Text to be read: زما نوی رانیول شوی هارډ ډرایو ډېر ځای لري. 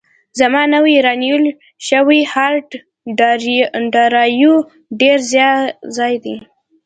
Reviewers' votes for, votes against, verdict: 2, 0, accepted